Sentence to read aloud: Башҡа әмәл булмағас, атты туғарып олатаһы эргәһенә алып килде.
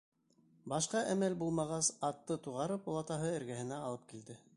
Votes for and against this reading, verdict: 2, 1, accepted